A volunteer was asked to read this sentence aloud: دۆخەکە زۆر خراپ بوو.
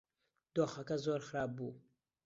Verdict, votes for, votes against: accepted, 2, 0